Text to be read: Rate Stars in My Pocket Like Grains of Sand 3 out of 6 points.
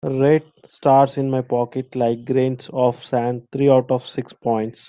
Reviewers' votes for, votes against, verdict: 0, 2, rejected